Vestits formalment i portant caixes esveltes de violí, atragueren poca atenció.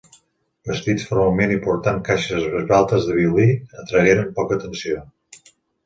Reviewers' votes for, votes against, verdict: 2, 3, rejected